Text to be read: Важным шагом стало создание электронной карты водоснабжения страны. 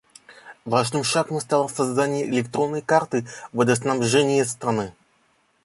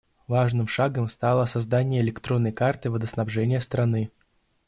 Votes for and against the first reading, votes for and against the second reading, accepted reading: 1, 2, 2, 0, second